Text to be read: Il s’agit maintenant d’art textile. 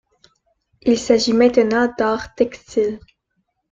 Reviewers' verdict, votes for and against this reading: rejected, 0, 2